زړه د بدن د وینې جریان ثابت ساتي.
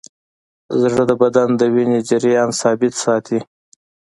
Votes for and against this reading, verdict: 2, 0, accepted